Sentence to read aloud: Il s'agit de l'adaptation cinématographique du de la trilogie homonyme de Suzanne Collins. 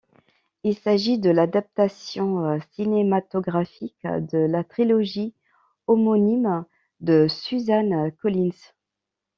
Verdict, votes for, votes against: rejected, 0, 2